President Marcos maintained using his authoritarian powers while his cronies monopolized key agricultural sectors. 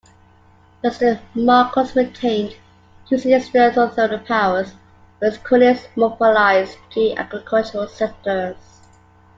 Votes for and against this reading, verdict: 0, 2, rejected